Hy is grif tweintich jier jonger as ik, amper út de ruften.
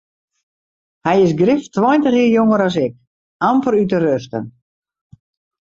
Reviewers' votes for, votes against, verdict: 2, 0, accepted